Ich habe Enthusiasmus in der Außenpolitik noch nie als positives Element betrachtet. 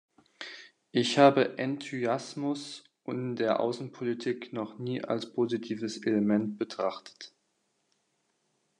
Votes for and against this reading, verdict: 0, 2, rejected